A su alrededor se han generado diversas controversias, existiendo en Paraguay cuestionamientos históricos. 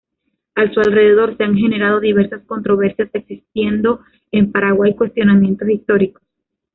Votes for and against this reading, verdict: 1, 2, rejected